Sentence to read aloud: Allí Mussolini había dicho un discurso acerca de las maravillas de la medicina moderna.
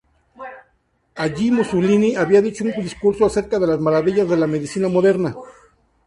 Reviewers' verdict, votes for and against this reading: rejected, 0, 2